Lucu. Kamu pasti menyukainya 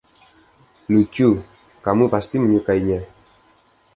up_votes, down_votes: 2, 0